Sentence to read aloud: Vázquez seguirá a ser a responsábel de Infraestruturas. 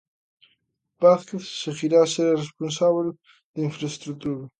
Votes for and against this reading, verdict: 0, 2, rejected